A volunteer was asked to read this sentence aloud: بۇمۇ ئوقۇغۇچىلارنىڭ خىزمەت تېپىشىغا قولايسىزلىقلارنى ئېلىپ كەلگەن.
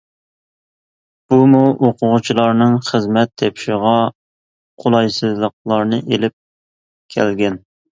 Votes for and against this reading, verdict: 2, 0, accepted